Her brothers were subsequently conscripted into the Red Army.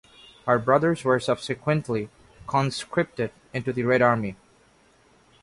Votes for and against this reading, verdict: 1, 2, rejected